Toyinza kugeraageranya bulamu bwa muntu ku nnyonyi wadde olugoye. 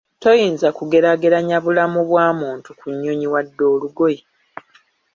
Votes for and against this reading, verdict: 2, 1, accepted